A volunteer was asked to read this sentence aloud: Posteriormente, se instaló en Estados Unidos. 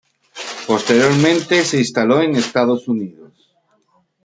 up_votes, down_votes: 0, 2